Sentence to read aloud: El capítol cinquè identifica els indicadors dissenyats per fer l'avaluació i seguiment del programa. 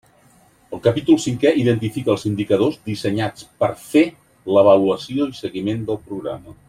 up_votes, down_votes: 3, 0